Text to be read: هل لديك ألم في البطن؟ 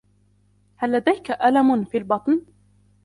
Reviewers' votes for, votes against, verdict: 2, 1, accepted